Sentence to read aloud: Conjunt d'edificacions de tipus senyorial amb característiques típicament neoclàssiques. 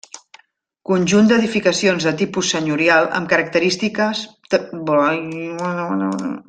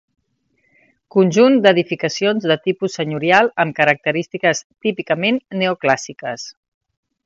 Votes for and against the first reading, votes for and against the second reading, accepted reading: 0, 2, 2, 0, second